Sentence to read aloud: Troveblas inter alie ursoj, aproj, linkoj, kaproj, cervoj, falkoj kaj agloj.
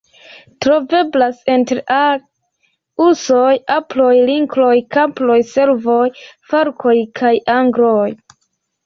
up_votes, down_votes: 2, 1